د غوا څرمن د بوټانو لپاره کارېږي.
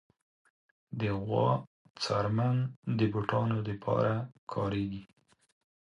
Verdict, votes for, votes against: accepted, 4, 0